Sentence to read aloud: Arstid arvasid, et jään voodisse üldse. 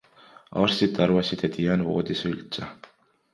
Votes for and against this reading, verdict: 2, 1, accepted